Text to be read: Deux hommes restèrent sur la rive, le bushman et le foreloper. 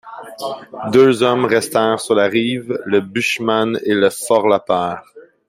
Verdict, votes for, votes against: rejected, 1, 2